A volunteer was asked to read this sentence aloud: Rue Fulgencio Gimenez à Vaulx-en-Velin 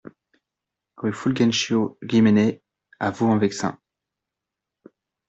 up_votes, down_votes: 1, 2